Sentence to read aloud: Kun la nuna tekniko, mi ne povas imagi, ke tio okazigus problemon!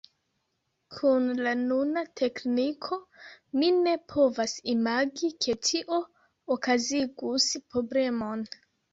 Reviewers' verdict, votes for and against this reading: accepted, 3, 2